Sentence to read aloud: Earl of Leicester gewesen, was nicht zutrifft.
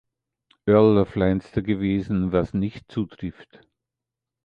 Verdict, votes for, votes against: rejected, 0, 2